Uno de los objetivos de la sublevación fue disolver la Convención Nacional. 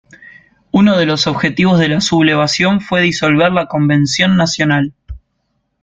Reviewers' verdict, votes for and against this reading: accepted, 2, 0